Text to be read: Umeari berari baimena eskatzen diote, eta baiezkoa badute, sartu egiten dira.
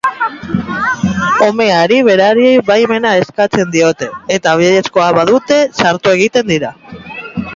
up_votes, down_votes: 0, 2